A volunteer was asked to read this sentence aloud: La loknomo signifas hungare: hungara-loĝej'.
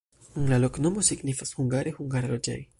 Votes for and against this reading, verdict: 2, 1, accepted